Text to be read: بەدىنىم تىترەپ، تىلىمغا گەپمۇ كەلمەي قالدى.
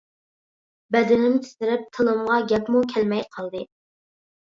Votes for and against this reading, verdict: 3, 0, accepted